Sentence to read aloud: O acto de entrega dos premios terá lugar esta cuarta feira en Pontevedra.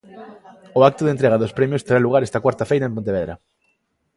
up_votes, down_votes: 2, 0